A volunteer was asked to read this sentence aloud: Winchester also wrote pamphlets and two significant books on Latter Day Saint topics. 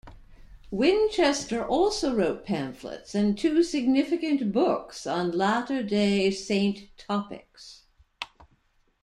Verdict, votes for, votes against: accepted, 2, 0